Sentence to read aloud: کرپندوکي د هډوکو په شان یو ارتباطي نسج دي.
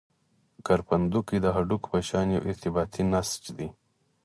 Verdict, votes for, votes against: accepted, 4, 0